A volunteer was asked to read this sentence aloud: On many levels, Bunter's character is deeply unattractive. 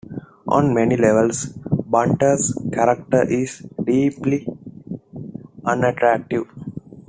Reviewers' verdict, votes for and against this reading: accepted, 2, 0